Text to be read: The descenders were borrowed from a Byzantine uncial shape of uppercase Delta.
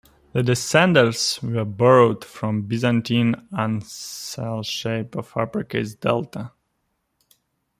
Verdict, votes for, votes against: rejected, 0, 2